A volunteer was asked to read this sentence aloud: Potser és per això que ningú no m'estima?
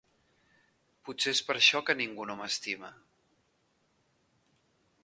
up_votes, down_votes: 1, 2